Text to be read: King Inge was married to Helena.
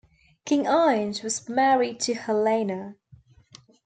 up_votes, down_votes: 2, 1